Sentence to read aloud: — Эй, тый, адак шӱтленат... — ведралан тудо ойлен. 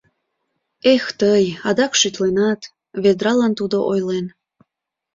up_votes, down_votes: 0, 2